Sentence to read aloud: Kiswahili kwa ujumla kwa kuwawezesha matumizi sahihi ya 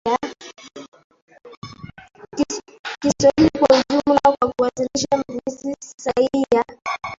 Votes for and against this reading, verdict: 0, 2, rejected